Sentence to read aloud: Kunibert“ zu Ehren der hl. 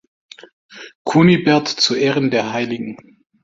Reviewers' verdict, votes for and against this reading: accepted, 3, 1